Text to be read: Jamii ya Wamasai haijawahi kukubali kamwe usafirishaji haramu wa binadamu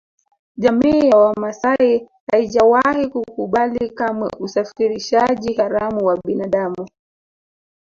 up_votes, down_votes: 2, 0